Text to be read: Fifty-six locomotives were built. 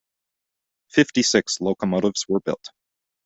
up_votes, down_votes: 2, 0